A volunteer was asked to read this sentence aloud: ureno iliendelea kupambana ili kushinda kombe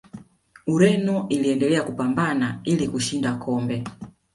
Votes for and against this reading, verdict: 2, 0, accepted